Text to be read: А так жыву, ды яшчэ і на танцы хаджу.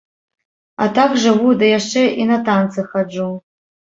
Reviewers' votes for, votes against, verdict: 2, 0, accepted